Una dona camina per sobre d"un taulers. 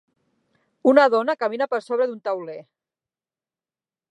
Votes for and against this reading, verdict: 0, 6, rejected